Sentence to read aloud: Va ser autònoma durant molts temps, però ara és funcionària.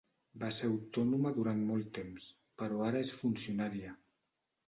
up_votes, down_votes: 1, 2